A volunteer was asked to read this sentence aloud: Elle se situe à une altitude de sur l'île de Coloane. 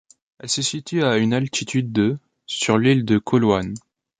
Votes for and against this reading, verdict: 2, 0, accepted